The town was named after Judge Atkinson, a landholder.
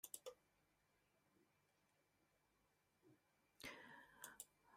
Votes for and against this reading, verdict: 0, 2, rejected